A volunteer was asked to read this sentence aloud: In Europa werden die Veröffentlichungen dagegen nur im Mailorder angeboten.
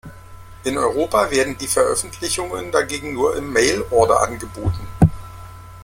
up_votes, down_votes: 2, 1